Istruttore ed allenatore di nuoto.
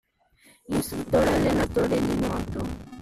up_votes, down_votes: 0, 2